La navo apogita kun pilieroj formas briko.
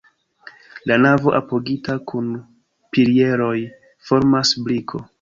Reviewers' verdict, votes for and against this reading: accepted, 2, 0